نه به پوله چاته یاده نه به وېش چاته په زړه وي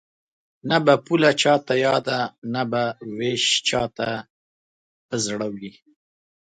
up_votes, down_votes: 2, 0